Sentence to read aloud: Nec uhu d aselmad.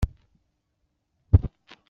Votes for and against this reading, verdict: 1, 2, rejected